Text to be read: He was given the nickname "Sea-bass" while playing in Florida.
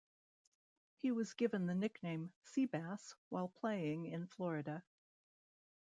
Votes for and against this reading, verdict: 2, 0, accepted